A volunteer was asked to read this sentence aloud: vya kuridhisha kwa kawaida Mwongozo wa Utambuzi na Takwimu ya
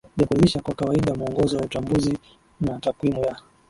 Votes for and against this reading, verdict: 12, 13, rejected